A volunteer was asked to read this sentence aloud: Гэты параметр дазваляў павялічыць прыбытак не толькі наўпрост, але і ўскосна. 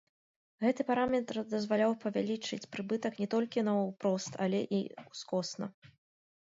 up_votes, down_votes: 0, 2